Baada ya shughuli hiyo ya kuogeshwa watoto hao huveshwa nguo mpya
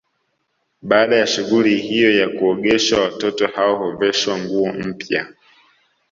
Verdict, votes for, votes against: accepted, 2, 0